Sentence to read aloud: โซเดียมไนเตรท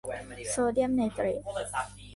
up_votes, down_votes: 1, 2